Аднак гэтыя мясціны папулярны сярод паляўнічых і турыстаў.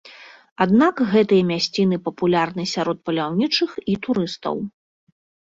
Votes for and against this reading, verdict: 2, 1, accepted